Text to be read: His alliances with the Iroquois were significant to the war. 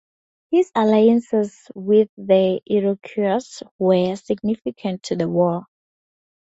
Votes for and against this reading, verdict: 0, 2, rejected